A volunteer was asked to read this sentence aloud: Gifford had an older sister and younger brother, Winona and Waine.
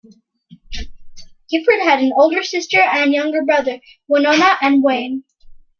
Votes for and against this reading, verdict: 2, 0, accepted